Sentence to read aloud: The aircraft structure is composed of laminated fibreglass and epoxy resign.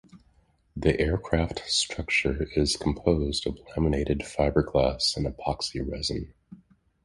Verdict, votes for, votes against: accepted, 2, 0